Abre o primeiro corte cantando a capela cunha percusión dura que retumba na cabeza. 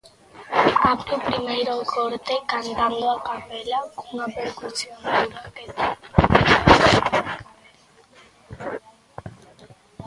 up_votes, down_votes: 0, 2